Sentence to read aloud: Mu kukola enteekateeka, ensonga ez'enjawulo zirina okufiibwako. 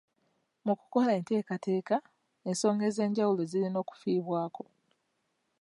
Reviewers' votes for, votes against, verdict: 2, 0, accepted